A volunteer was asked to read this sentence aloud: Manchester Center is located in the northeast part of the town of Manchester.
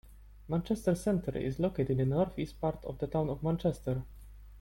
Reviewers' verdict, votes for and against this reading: accepted, 2, 1